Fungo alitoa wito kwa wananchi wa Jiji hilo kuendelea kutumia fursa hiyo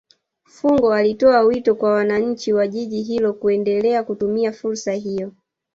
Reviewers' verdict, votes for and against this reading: rejected, 1, 2